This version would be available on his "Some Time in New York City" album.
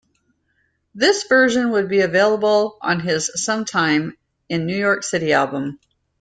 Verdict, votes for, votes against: accepted, 2, 0